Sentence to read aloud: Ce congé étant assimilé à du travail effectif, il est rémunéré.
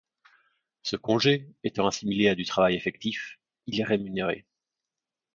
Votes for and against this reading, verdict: 2, 0, accepted